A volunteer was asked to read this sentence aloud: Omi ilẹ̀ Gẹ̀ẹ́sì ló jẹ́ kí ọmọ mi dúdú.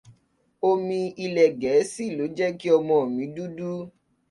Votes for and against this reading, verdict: 1, 2, rejected